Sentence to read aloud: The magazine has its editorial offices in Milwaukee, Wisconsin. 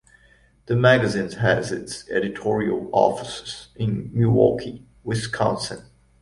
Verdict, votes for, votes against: accepted, 2, 0